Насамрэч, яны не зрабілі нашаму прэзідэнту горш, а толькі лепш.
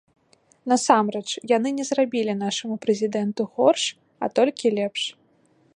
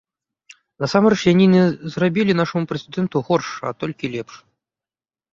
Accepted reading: first